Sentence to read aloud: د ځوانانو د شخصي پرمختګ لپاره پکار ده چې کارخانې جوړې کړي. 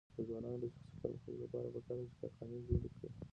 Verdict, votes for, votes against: rejected, 1, 2